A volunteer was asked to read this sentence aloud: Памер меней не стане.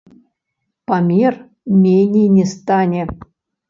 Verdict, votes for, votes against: rejected, 1, 2